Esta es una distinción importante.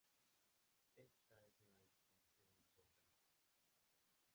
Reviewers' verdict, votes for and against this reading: rejected, 0, 2